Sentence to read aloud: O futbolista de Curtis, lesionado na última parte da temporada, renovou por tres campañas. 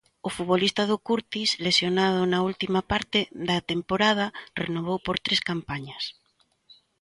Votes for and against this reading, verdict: 1, 3, rejected